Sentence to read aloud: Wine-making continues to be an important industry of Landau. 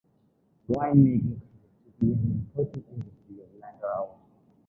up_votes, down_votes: 0, 2